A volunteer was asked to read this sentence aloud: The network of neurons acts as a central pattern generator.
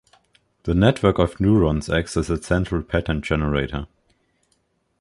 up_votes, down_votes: 2, 0